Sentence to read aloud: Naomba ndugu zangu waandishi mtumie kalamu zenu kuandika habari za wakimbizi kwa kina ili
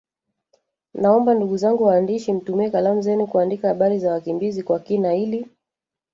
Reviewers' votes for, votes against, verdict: 1, 2, rejected